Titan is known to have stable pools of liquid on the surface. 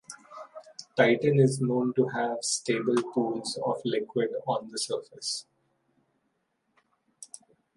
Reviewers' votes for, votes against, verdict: 2, 0, accepted